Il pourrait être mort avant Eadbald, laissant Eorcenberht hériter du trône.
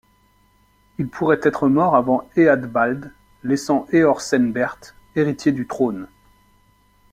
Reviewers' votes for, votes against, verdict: 0, 2, rejected